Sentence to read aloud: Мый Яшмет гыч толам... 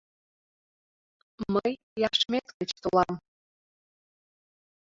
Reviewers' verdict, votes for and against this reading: accepted, 2, 0